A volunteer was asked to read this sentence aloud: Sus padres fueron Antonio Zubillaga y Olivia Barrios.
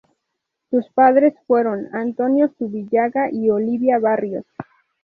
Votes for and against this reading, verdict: 0, 2, rejected